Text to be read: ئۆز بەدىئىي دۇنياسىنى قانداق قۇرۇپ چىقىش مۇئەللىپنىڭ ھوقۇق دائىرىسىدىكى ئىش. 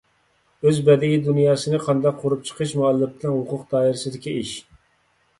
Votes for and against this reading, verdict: 3, 0, accepted